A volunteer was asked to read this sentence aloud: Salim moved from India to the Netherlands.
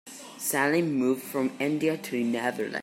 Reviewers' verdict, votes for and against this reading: rejected, 0, 2